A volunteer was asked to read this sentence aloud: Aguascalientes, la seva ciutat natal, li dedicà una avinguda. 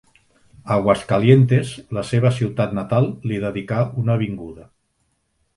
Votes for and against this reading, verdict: 2, 0, accepted